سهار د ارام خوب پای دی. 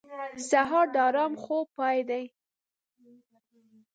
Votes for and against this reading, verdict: 2, 0, accepted